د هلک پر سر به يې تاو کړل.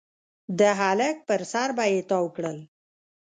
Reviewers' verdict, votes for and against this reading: rejected, 0, 2